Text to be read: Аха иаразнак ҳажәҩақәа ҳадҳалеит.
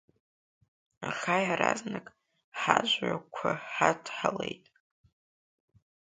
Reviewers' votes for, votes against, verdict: 2, 1, accepted